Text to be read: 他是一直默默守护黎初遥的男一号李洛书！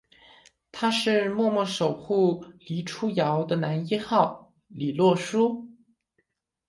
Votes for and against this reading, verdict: 0, 2, rejected